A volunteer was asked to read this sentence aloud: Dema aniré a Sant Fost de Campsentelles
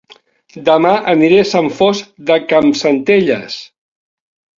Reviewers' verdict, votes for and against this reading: accepted, 3, 0